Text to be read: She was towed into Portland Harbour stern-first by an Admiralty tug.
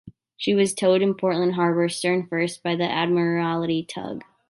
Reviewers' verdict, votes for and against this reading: accepted, 2, 1